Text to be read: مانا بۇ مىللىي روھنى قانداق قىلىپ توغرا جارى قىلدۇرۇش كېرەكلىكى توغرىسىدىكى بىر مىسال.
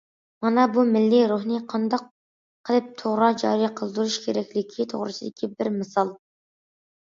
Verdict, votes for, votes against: accepted, 2, 0